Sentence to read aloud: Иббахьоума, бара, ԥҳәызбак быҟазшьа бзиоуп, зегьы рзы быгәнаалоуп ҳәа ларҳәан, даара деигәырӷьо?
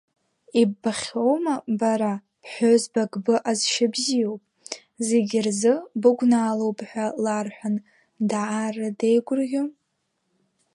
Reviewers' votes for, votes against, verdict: 0, 2, rejected